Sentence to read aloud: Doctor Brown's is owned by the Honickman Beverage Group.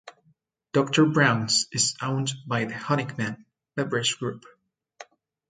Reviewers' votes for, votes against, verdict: 2, 0, accepted